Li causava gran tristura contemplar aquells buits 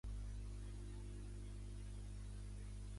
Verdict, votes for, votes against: rejected, 0, 2